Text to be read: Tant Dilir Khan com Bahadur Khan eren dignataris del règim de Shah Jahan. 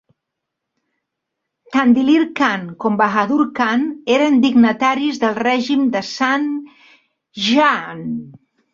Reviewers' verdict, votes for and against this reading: rejected, 1, 2